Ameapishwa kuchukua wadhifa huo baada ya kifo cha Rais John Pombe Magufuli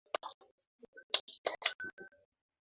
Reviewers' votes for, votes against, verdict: 0, 2, rejected